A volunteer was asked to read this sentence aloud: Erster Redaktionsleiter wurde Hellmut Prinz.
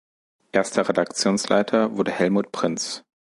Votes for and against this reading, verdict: 3, 0, accepted